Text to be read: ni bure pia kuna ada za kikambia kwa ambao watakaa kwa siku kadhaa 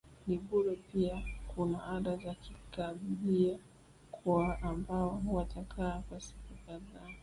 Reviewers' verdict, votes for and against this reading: rejected, 0, 2